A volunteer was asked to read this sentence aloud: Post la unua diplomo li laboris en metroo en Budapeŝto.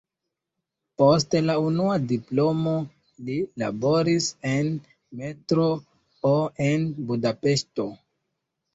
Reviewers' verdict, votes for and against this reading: rejected, 0, 2